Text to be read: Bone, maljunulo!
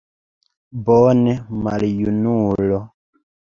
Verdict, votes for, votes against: accepted, 3, 1